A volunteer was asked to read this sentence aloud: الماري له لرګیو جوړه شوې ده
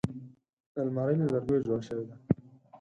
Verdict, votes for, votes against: accepted, 14, 2